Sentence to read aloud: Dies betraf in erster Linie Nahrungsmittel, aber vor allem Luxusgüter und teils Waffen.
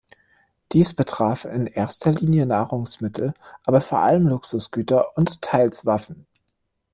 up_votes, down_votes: 2, 0